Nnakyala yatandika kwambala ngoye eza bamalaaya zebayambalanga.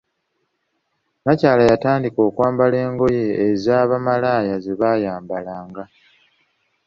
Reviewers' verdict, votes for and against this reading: accepted, 2, 0